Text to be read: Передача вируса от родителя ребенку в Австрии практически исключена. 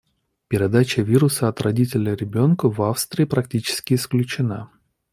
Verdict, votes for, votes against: accepted, 2, 0